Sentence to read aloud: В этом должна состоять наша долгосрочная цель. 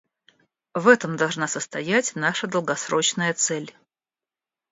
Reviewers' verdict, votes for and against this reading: accepted, 2, 0